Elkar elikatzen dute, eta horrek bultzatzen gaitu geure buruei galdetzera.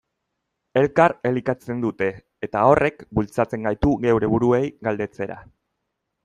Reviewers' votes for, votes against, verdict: 2, 0, accepted